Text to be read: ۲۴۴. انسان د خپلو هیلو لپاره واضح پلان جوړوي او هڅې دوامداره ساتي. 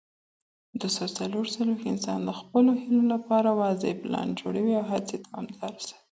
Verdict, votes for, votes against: rejected, 0, 2